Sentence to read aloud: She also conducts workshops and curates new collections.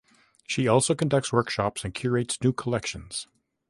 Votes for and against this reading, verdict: 3, 0, accepted